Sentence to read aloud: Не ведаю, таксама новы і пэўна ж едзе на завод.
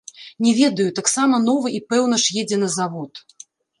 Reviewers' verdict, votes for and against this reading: accepted, 2, 0